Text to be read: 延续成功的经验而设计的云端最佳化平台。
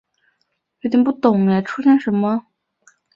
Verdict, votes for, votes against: rejected, 1, 2